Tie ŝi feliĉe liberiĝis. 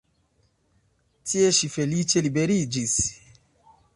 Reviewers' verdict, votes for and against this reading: accepted, 2, 0